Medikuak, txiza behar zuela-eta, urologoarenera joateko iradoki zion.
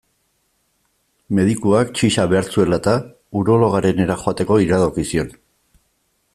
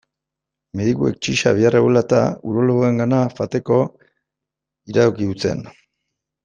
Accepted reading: first